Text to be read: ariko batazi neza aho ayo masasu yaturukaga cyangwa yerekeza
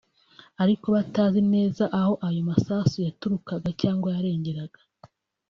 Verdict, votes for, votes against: rejected, 0, 3